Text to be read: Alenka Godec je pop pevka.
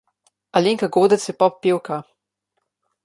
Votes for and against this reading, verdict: 2, 0, accepted